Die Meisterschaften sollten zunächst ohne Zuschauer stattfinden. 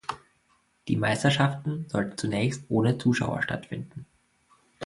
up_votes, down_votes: 2, 1